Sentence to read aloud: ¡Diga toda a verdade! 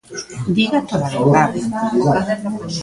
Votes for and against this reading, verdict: 2, 0, accepted